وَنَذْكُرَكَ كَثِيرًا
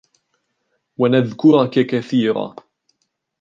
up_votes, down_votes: 1, 2